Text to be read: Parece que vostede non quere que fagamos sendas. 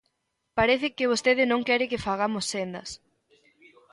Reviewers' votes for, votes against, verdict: 3, 0, accepted